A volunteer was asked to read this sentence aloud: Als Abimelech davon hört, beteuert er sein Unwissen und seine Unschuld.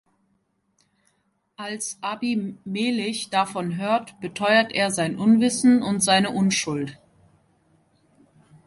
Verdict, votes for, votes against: accepted, 2, 1